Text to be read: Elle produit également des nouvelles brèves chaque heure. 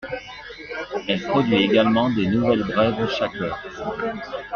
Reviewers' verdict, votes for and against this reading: accepted, 2, 1